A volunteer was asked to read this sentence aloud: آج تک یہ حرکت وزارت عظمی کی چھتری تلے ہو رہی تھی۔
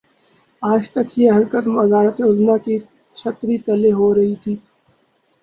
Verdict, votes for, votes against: accepted, 6, 4